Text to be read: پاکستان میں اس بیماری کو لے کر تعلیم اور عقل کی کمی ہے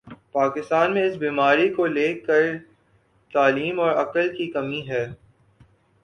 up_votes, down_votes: 2, 1